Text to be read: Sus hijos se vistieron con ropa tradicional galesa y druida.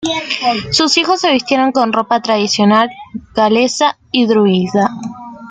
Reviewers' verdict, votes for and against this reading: accepted, 2, 1